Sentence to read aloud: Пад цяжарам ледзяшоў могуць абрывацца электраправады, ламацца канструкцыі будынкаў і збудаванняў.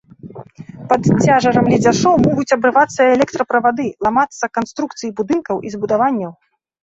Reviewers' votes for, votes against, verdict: 1, 2, rejected